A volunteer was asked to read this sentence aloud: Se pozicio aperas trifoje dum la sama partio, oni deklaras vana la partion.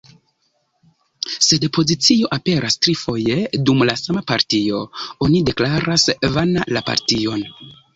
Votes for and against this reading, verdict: 1, 2, rejected